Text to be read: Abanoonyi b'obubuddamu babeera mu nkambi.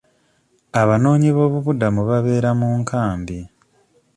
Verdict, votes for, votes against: rejected, 1, 2